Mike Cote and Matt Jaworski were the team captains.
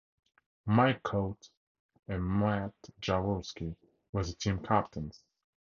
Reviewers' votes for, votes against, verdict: 0, 2, rejected